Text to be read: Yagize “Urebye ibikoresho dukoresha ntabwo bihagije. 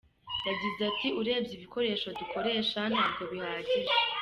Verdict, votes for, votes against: rejected, 1, 2